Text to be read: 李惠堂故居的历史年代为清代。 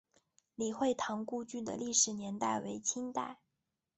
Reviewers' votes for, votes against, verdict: 3, 0, accepted